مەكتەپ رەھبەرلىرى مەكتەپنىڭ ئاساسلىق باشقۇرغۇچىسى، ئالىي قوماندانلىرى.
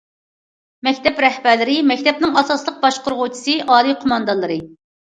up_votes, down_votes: 2, 0